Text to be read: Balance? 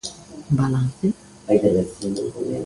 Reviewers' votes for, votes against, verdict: 0, 2, rejected